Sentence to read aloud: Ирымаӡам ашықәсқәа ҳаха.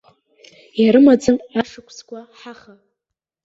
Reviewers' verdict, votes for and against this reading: accepted, 2, 0